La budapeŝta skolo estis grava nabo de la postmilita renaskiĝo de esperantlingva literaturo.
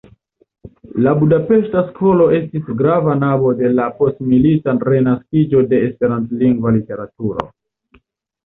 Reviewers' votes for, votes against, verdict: 1, 2, rejected